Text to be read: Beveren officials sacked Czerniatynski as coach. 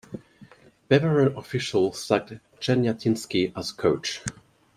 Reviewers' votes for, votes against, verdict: 1, 2, rejected